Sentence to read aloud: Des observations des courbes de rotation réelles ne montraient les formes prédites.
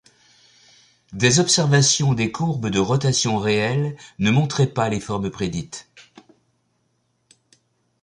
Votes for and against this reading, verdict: 0, 2, rejected